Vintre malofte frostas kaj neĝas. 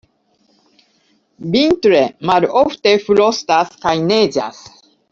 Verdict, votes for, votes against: rejected, 1, 2